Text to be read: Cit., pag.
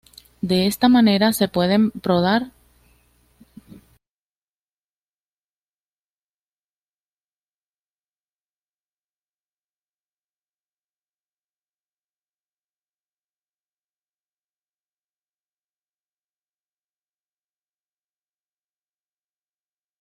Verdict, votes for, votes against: rejected, 1, 2